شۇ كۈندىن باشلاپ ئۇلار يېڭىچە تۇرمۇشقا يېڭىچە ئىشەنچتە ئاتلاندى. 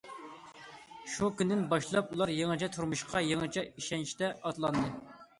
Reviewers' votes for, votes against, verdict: 2, 0, accepted